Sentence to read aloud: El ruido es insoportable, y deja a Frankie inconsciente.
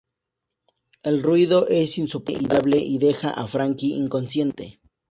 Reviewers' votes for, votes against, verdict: 2, 2, rejected